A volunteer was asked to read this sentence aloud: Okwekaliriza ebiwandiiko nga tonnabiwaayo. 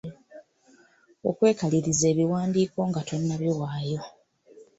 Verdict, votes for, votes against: accepted, 2, 0